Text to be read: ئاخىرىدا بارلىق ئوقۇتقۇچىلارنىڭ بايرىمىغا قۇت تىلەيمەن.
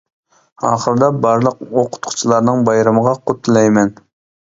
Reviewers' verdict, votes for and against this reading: accepted, 2, 0